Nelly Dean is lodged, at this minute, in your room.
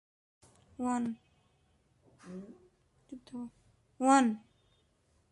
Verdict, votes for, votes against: rejected, 0, 2